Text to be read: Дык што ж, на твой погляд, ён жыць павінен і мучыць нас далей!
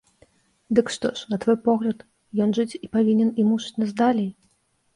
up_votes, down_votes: 0, 2